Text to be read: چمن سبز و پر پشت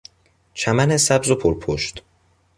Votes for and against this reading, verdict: 2, 0, accepted